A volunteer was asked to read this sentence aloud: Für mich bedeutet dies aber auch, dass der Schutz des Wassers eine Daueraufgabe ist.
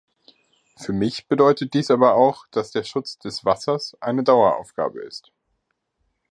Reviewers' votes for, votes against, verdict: 2, 0, accepted